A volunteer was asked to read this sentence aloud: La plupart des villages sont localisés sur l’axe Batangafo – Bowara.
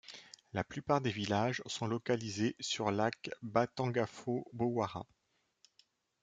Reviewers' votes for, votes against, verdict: 0, 2, rejected